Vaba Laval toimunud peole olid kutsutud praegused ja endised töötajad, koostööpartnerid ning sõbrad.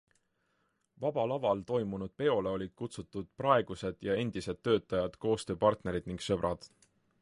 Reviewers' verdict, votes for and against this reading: accepted, 3, 0